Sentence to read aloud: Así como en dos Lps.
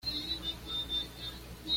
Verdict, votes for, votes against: rejected, 1, 2